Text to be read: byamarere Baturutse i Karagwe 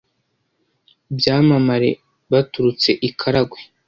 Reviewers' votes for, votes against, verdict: 0, 2, rejected